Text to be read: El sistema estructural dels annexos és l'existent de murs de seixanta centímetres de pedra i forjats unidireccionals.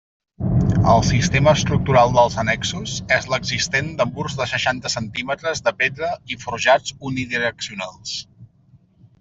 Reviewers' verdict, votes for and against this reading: accepted, 2, 0